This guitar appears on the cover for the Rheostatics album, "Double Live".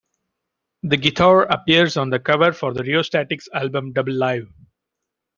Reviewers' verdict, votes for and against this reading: rejected, 1, 2